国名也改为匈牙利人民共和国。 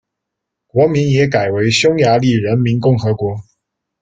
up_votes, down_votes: 2, 0